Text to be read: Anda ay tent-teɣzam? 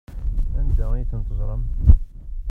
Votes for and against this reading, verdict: 1, 2, rejected